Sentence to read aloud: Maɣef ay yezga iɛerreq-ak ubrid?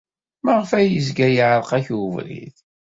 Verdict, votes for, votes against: accepted, 2, 0